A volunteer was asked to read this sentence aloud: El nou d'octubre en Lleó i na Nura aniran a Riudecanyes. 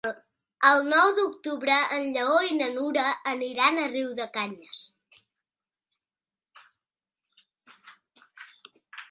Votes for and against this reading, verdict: 2, 1, accepted